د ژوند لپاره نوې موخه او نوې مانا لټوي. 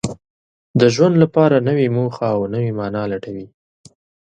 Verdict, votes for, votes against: accepted, 5, 0